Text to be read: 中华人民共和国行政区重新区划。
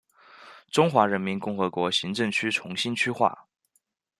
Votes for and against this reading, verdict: 2, 1, accepted